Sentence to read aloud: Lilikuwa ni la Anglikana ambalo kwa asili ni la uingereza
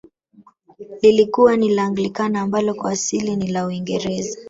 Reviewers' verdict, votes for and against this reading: accepted, 2, 0